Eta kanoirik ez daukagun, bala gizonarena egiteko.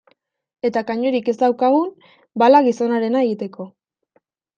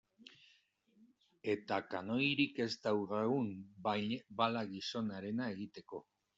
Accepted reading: first